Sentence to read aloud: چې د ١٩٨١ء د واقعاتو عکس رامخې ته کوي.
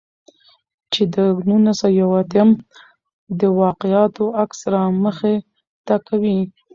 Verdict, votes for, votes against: rejected, 0, 2